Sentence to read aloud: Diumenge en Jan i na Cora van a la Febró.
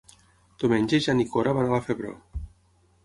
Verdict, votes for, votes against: rejected, 0, 6